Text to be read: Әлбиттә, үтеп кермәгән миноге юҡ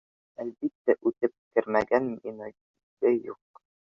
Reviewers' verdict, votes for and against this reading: rejected, 0, 2